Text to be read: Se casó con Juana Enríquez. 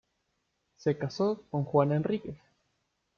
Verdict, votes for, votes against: rejected, 0, 2